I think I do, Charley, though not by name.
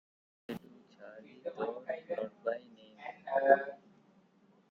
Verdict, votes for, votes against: rejected, 0, 2